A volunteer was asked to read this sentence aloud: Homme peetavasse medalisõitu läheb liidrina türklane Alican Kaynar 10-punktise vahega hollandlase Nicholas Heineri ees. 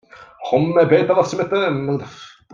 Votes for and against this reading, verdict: 0, 2, rejected